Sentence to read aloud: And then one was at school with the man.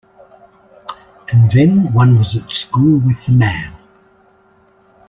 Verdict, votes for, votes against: accepted, 2, 0